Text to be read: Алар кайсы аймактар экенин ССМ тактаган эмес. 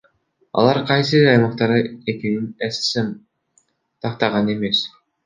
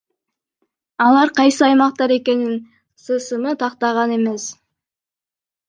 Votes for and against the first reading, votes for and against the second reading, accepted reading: 2, 1, 0, 2, first